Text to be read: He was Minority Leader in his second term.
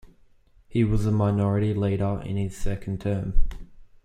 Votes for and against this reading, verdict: 1, 2, rejected